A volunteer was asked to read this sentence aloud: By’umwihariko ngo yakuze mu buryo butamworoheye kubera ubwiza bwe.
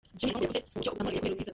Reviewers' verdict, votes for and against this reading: rejected, 0, 2